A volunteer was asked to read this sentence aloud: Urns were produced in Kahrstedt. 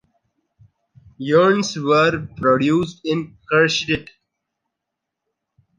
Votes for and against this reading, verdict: 2, 0, accepted